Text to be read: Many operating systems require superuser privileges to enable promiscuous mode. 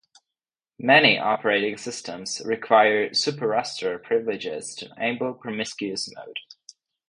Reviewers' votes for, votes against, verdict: 0, 2, rejected